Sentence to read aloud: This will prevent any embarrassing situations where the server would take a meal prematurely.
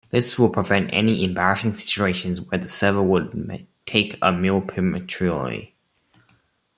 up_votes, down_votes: 0, 2